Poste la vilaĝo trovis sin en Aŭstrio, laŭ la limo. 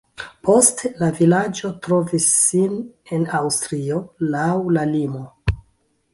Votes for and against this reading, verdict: 1, 2, rejected